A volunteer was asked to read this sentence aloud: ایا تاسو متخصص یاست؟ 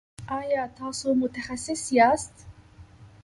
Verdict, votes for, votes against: accepted, 2, 1